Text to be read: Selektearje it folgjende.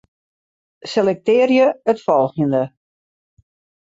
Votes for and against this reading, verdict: 2, 0, accepted